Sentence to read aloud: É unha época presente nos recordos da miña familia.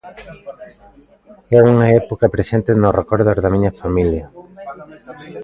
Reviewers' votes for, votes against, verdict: 0, 2, rejected